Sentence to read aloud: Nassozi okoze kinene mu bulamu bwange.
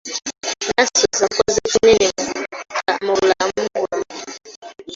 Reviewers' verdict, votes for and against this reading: rejected, 1, 2